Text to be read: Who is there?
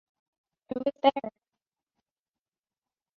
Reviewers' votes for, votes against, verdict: 1, 2, rejected